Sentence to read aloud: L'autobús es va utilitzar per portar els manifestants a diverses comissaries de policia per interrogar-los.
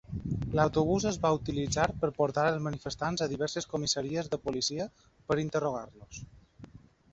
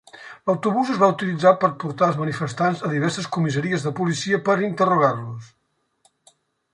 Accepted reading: second